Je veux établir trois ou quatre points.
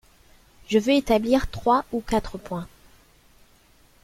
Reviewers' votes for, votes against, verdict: 3, 1, accepted